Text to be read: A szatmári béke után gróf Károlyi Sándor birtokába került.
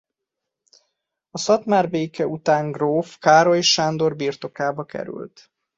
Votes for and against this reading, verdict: 2, 1, accepted